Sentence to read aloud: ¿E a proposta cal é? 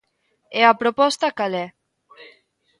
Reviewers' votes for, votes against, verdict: 1, 2, rejected